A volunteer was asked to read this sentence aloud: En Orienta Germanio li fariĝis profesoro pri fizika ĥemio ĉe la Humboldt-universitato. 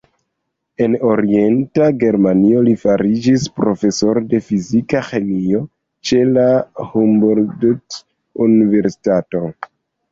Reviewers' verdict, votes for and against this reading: rejected, 0, 2